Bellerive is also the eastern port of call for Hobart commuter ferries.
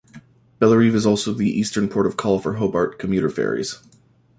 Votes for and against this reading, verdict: 2, 0, accepted